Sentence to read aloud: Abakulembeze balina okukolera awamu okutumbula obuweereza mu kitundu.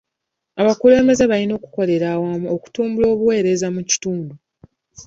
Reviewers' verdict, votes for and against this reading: accepted, 2, 0